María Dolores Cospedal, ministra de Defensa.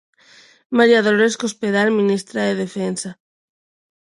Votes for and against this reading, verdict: 2, 0, accepted